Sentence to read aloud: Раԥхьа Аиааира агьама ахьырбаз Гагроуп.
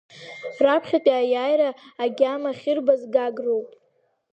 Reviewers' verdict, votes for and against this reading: accepted, 2, 0